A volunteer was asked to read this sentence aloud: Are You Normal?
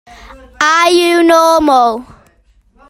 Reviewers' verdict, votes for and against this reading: accepted, 3, 1